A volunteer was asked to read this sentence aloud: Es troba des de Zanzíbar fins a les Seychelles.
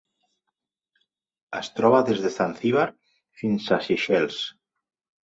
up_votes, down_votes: 0, 2